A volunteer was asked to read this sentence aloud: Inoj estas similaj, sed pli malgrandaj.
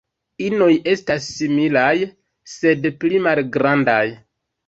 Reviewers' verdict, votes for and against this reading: accepted, 2, 1